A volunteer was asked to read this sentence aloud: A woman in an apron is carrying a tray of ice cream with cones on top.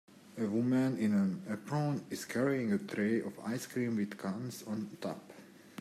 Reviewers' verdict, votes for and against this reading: rejected, 0, 2